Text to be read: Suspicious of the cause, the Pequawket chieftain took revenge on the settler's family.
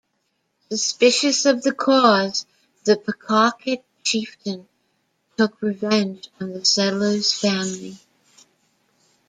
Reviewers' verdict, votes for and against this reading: rejected, 0, 2